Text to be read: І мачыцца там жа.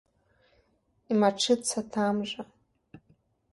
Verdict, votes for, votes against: accepted, 2, 0